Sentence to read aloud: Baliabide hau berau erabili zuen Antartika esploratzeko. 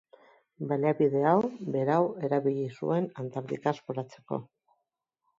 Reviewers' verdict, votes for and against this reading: rejected, 1, 2